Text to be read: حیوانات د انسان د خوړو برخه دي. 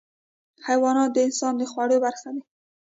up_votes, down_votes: 2, 0